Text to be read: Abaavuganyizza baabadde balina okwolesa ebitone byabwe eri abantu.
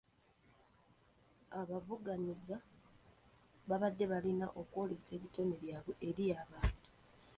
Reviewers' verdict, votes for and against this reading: rejected, 1, 2